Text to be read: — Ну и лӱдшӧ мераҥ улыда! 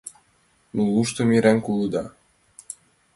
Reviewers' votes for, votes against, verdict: 0, 2, rejected